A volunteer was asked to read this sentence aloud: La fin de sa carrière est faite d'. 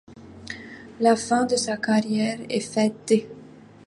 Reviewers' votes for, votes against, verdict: 1, 2, rejected